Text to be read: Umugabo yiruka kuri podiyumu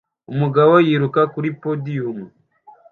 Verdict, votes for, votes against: accepted, 2, 0